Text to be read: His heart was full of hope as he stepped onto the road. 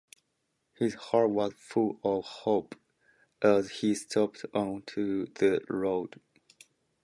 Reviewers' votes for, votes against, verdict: 1, 2, rejected